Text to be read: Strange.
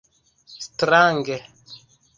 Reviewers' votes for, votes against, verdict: 1, 2, rejected